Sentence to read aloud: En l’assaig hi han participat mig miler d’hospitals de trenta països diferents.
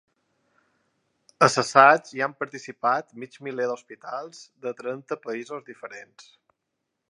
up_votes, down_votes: 1, 2